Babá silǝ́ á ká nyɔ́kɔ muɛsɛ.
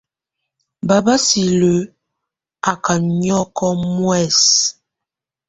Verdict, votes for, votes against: accepted, 2, 0